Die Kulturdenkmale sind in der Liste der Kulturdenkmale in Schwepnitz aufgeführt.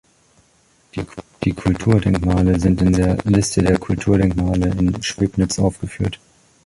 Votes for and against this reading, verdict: 0, 2, rejected